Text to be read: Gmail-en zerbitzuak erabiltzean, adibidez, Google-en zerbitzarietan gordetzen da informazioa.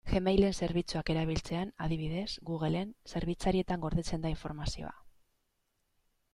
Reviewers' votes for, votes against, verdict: 2, 0, accepted